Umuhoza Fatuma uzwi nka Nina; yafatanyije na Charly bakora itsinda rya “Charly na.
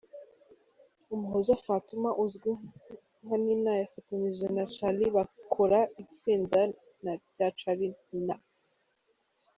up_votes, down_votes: 1, 2